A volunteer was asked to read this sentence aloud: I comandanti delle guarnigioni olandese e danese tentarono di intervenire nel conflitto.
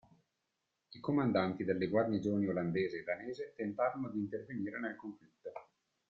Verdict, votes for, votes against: rejected, 0, 2